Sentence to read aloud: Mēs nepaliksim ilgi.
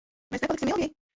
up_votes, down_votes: 0, 2